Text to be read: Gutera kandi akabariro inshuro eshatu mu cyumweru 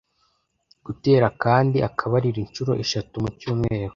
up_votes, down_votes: 2, 0